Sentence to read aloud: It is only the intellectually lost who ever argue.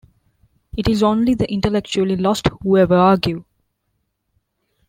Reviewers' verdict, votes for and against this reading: accepted, 2, 0